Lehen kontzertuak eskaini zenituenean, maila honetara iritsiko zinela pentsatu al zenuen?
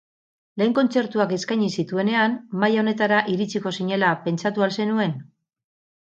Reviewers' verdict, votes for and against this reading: rejected, 2, 4